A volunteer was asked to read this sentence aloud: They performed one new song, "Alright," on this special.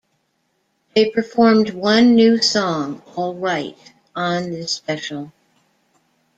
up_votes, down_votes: 2, 0